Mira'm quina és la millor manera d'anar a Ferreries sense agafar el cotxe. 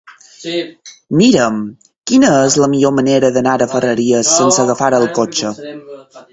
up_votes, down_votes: 2, 4